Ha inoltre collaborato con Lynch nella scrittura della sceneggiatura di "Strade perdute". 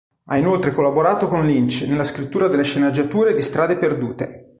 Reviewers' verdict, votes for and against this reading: rejected, 0, 2